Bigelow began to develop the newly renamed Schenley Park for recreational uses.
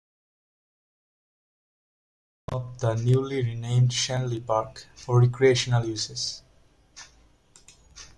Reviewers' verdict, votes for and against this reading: rejected, 0, 2